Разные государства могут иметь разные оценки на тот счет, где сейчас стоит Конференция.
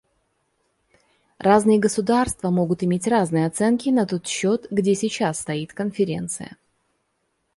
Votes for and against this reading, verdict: 2, 0, accepted